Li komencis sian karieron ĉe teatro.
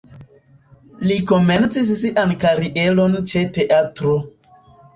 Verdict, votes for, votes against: accepted, 2, 1